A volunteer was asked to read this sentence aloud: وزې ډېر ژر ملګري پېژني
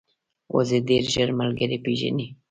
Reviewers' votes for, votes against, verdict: 1, 2, rejected